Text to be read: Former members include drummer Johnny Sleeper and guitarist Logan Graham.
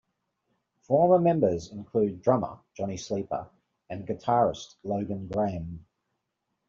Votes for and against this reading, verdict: 2, 0, accepted